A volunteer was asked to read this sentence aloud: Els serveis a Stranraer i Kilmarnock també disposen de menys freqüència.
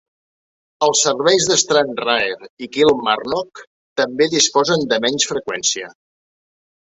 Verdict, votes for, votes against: accepted, 3, 0